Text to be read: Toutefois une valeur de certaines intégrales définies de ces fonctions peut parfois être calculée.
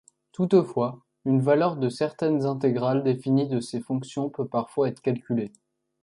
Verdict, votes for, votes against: accepted, 2, 0